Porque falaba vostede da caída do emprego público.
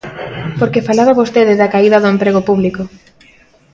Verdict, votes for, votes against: accepted, 2, 0